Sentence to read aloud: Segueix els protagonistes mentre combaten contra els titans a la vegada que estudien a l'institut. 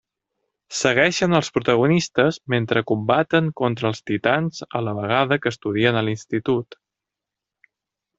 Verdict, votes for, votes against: rejected, 0, 2